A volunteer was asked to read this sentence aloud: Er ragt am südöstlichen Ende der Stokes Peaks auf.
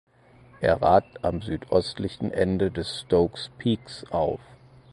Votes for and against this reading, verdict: 2, 4, rejected